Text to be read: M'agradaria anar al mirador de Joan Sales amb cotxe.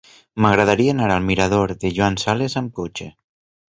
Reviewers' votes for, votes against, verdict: 4, 0, accepted